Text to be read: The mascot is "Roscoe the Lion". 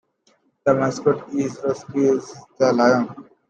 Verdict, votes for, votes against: rejected, 1, 2